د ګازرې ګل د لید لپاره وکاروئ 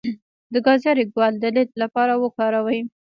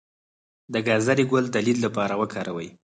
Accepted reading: second